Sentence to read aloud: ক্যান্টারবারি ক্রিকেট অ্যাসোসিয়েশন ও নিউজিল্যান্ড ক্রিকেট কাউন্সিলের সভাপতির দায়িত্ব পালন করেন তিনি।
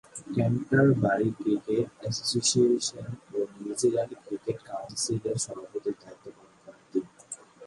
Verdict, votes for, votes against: rejected, 0, 2